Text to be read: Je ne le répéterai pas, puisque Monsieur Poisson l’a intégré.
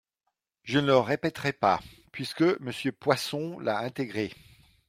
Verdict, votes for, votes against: accepted, 2, 0